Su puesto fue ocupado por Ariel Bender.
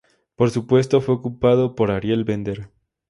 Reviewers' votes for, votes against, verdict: 2, 2, rejected